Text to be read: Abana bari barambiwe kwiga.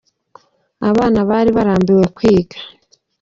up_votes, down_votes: 2, 0